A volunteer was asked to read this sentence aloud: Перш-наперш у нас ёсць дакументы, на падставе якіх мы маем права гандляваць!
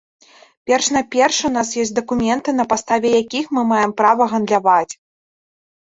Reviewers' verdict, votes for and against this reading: rejected, 1, 2